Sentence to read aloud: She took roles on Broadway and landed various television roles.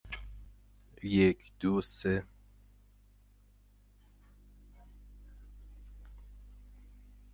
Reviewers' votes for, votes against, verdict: 0, 2, rejected